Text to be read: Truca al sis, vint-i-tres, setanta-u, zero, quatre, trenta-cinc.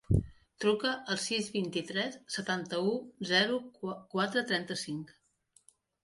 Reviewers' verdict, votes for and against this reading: accepted, 3, 0